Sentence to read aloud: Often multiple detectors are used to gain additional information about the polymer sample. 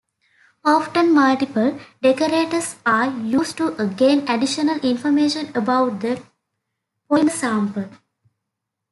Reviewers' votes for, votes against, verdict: 0, 2, rejected